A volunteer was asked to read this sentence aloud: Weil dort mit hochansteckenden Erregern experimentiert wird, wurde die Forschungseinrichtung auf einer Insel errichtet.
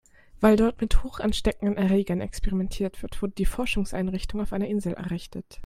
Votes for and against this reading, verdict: 2, 0, accepted